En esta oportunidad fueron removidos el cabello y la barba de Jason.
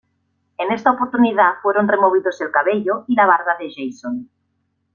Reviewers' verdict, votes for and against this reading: accepted, 2, 1